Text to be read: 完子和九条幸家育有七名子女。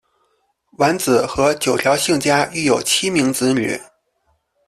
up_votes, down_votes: 3, 1